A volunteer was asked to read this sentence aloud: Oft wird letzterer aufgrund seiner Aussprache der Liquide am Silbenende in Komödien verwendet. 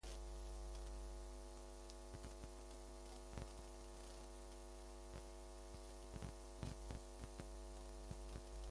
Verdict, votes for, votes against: rejected, 0, 2